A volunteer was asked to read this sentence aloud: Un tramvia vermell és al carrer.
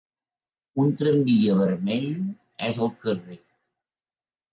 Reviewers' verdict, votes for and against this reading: accepted, 2, 0